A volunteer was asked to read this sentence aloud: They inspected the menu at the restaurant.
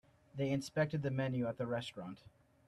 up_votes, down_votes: 2, 0